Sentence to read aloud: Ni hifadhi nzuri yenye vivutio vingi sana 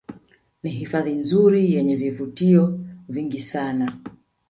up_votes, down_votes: 2, 0